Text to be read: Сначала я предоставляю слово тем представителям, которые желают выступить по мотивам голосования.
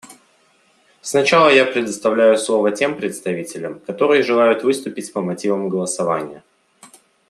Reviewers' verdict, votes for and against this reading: accepted, 2, 0